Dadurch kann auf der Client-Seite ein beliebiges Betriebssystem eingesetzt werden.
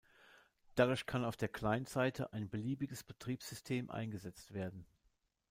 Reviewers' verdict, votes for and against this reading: accepted, 2, 0